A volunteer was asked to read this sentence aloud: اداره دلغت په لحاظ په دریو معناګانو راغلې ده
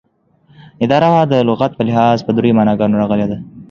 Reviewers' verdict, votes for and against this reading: accepted, 2, 0